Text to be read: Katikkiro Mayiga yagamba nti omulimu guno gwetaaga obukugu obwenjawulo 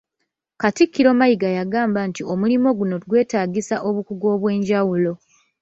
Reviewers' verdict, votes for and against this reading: rejected, 1, 2